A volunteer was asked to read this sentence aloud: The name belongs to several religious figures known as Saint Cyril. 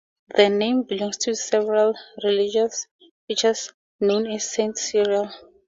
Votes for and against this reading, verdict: 2, 0, accepted